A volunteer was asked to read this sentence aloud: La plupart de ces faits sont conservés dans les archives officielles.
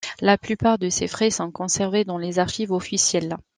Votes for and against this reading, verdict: 0, 2, rejected